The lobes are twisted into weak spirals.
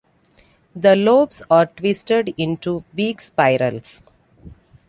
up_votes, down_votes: 2, 0